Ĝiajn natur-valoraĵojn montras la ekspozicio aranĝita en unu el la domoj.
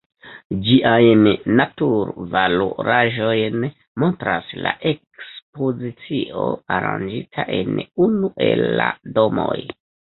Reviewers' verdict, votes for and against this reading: accepted, 2, 0